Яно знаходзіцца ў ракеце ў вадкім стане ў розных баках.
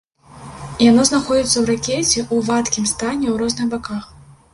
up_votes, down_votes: 1, 2